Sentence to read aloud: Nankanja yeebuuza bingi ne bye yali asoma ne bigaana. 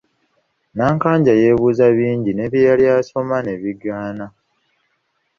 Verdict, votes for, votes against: accepted, 2, 0